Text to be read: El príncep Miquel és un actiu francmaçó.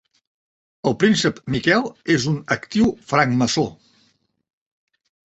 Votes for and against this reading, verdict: 2, 0, accepted